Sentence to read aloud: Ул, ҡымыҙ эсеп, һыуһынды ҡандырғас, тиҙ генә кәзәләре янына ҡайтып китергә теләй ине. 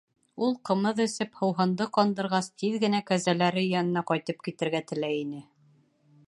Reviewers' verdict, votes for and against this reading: accepted, 2, 0